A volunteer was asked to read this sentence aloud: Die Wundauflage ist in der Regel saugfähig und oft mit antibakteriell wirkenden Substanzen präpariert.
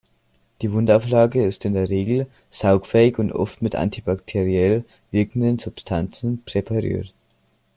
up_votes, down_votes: 2, 1